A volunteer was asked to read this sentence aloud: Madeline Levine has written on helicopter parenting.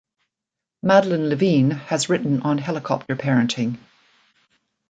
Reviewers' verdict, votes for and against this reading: accepted, 2, 0